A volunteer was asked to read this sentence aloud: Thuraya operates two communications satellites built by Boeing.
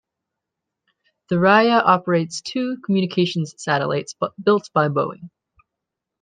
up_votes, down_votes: 0, 2